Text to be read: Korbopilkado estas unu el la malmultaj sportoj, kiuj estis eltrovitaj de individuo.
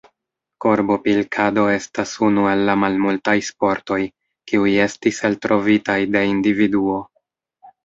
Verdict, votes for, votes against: rejected, 1, 2